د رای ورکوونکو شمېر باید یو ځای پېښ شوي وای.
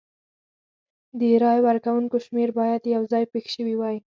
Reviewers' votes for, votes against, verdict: 4, 0, accepted